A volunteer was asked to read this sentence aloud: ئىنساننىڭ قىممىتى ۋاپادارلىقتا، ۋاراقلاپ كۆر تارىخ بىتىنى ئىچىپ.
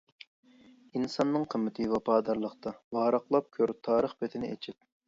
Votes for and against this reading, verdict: 2, 0, accepted